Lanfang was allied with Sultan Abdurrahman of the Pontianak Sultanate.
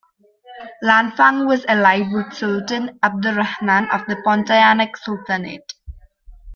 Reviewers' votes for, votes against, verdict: 1, 3, rejected